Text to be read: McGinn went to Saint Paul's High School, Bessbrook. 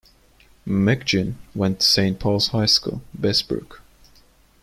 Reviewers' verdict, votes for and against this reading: rejected, 1, 2